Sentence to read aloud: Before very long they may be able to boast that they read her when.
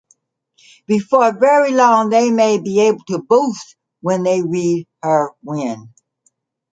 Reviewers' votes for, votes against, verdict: 2, 0, accepted